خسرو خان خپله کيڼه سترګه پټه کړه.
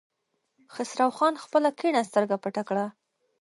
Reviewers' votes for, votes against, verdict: 2, 0, accepted